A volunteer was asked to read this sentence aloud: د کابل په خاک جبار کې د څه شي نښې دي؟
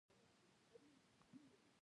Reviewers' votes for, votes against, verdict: 1, 2, rejected